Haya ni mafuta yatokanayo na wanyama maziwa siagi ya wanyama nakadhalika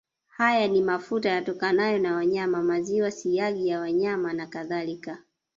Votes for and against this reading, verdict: 1, 2, rejected